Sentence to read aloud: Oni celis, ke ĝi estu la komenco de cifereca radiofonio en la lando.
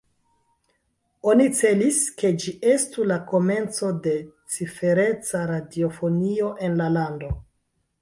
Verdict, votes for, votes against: accepted, 2, 0